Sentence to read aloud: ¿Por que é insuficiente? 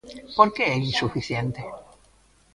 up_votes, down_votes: 2, 0